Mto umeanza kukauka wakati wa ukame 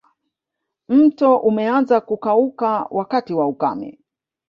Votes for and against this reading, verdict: 6, 0, accepted